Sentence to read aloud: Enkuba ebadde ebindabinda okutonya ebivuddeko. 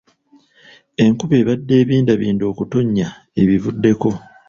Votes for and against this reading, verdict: 1, 2, rejected